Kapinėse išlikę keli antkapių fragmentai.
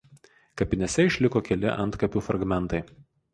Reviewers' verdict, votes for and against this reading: rejected, 0, 4